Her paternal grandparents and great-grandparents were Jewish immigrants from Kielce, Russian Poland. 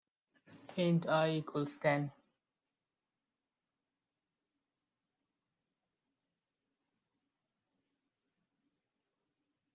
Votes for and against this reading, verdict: 0, 2, rejected